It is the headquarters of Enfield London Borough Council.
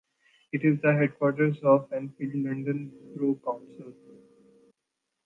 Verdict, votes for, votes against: rejected, 1, 2